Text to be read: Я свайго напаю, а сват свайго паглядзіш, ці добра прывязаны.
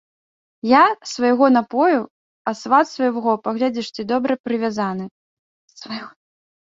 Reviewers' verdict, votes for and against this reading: rejected, 0, 2